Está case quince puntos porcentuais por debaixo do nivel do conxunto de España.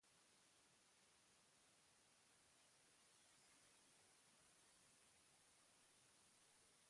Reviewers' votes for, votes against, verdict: 0, 2, rejected